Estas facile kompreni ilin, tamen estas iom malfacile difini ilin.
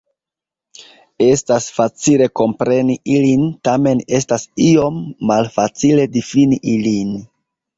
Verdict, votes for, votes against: rejected, 1, 2